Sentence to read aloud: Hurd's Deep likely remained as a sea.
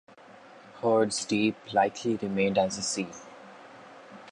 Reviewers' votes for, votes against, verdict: 2, 0, accepted